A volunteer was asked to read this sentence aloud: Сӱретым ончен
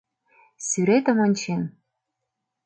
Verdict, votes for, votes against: accepted, 2, 0